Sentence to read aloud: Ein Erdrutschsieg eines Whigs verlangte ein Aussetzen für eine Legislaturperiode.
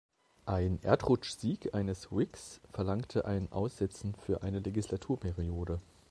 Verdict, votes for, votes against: accepted, 2, 0